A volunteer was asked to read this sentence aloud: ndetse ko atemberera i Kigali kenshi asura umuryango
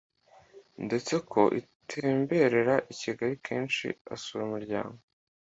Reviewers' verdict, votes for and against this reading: rejected, 1, 2